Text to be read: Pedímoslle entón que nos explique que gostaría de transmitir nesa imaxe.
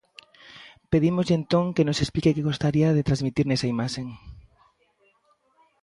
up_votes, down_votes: 1, 2